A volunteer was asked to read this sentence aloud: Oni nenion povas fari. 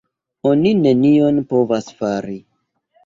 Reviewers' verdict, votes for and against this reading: accepted, 2, 0